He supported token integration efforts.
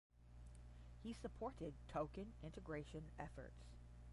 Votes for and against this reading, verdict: 5, 10, rejected